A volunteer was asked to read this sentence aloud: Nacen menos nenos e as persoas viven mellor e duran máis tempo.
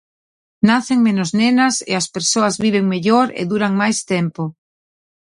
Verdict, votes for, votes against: rejected, 1, 2